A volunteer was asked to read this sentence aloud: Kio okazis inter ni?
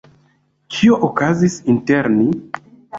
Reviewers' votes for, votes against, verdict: 2, 0, accepted